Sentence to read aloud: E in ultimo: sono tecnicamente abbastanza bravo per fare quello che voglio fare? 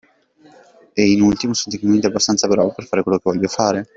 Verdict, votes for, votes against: accepted, 2, 1